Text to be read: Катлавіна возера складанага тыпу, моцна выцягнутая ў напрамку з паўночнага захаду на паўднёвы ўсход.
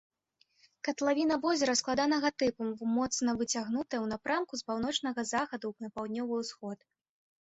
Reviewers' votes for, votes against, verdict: 0, 2, rejected